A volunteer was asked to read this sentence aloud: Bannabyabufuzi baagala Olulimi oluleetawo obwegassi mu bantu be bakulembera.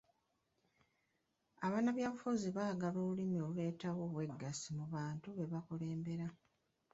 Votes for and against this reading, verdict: 2, 1, accepted